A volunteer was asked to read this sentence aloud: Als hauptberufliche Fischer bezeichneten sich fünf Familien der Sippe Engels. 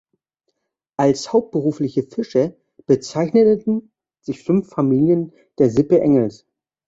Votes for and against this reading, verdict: 1, 2, rejected